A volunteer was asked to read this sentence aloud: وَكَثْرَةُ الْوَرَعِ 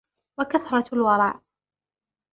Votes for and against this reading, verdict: 2, 0, accepted